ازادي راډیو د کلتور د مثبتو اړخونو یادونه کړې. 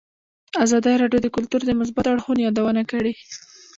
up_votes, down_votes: 2, 0